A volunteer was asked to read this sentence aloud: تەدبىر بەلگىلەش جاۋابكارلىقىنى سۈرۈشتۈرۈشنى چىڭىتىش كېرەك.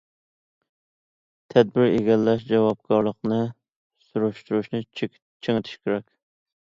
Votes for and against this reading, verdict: 2, 1, accepted